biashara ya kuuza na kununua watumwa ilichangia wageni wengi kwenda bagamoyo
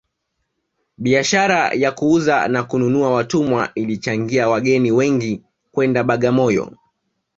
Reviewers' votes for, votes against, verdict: 1, 2, rejected